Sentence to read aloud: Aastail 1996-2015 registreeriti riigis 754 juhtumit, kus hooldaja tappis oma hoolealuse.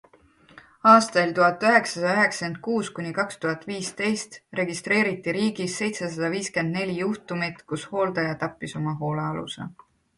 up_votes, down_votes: 0, 2